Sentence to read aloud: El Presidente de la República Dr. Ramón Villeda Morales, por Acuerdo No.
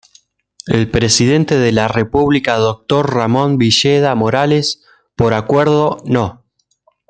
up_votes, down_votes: 2, 0